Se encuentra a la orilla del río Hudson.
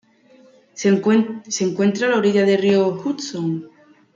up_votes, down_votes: 0, 2